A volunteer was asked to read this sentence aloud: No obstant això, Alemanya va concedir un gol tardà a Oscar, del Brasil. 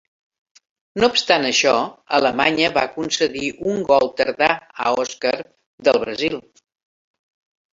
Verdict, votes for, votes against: accepted, 3, 1